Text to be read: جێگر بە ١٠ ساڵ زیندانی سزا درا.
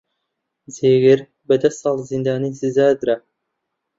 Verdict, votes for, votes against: rejected, 0, 2